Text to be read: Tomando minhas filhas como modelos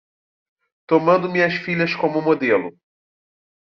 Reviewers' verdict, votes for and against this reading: rejected, 0, 2